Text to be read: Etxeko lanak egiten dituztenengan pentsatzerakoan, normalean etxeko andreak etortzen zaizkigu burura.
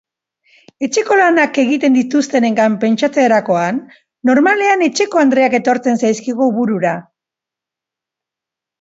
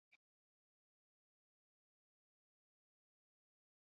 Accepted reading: first